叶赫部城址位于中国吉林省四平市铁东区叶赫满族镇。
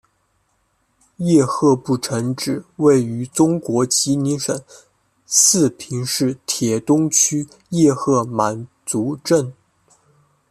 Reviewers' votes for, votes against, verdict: 2, 1, accepted